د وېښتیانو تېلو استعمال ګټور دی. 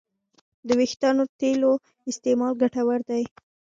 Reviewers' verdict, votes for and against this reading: rejected, 1, 2